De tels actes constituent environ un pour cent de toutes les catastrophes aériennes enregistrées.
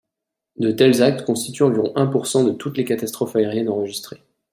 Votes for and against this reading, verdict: 2, 0, accepted